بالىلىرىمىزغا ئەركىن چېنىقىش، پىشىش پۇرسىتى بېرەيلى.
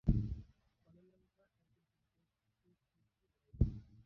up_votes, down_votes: 0, 2